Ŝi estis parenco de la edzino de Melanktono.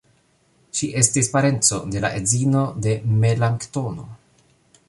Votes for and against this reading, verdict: 2, 1, accepted